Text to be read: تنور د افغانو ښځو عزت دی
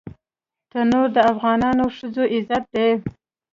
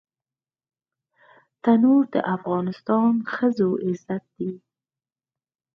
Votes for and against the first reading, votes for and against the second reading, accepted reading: 4, 0, 2, 4, first